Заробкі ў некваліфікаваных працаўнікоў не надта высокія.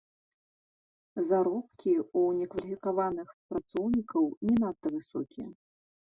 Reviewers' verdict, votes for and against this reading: accepted, 2, 1